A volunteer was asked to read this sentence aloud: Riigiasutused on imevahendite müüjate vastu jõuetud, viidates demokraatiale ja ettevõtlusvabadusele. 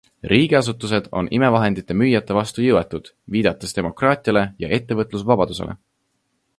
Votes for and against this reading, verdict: 2, 0, accepted